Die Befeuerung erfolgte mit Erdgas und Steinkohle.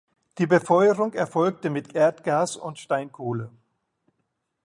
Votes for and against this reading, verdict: 2, 0, accepted